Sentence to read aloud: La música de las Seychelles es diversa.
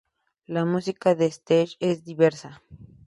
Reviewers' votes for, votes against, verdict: 0, 2, rejected